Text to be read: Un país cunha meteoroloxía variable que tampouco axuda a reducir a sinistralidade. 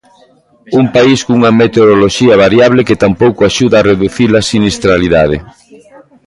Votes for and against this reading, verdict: 5, 1, accepted